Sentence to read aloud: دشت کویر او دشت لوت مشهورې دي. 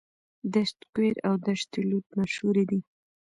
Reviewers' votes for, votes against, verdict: 2, 0, accepted